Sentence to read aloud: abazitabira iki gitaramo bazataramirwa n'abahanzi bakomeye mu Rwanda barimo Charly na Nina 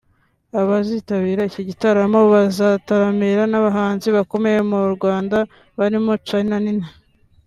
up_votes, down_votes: 2, 0